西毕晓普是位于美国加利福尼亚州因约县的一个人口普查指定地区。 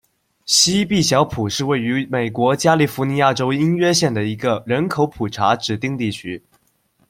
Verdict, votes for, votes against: accepted, 2, 0